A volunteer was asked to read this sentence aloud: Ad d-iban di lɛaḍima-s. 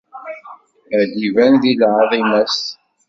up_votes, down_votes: 2, 1